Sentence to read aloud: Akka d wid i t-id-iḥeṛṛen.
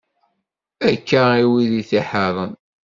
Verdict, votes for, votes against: rejected, 0, 2